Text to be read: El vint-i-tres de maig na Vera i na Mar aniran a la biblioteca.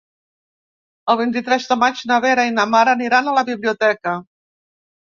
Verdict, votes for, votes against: accepted, 2, 0